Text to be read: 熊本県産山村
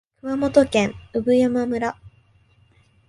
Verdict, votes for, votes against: accepted, 2, 0